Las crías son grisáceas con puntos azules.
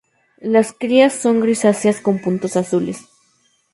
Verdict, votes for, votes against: accepted, 2, 0